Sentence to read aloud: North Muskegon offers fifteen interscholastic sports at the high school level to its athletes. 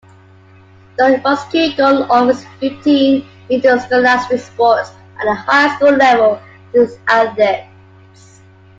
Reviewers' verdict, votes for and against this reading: rejected, 0, 2